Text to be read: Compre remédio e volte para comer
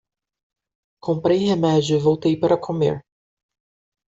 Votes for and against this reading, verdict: 0, 2, rejected